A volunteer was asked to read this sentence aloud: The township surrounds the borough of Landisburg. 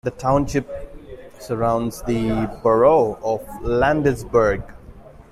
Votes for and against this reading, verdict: 2, 0, accepted